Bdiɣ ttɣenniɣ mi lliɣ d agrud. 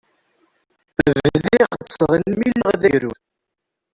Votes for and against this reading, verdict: 0, 2, rejected